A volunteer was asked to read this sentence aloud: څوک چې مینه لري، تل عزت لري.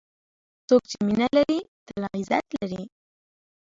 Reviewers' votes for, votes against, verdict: 2, 1, accepted